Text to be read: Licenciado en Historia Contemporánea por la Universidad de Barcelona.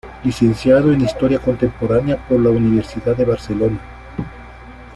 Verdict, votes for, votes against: accepted, 2, 0